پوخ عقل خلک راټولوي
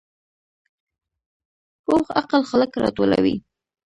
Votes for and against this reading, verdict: 1, 2, rejected